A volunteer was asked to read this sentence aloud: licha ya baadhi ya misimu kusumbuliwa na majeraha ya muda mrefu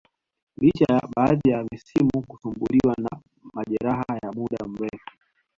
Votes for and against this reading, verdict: 0, 2, rejected